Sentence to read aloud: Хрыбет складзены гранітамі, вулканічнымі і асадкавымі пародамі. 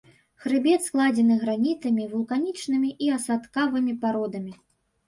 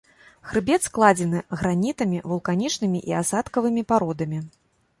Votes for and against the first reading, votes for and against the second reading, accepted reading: 0, 2, 3, 0, second